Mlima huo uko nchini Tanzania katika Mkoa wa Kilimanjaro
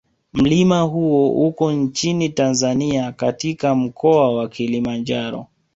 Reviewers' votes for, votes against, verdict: 1, 2, rejected